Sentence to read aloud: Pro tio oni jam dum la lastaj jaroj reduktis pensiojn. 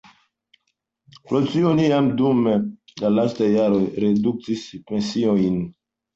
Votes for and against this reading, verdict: 1, 2, rejected